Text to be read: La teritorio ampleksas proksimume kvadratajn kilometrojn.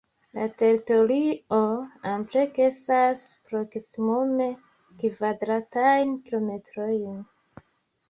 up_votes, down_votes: 1, 2